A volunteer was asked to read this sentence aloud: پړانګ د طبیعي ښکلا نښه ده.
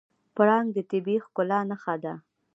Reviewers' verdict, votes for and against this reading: rejected, 1, 2